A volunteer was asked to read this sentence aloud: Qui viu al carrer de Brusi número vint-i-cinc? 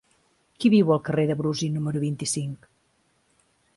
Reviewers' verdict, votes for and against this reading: accepted, 2, 0